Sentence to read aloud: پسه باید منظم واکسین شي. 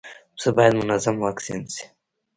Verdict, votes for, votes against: accepted, 2, 0